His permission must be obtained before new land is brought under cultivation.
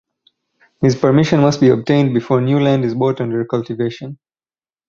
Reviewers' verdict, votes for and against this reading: rejected, 2, 4